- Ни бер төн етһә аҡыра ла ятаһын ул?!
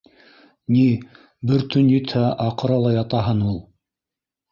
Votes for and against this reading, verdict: 1, 2, rejected